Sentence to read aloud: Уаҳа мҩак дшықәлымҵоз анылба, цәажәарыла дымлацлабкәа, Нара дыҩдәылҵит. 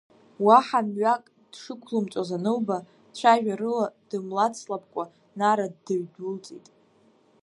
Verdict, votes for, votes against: accepted, 2, 0